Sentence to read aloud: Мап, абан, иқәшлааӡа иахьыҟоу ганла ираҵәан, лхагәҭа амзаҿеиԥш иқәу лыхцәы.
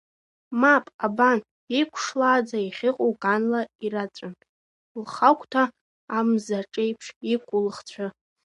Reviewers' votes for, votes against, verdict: 0, 2, rejected